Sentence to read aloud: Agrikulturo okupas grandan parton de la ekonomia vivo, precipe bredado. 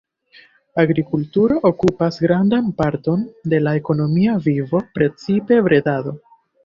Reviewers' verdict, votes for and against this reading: accepted, 2, 1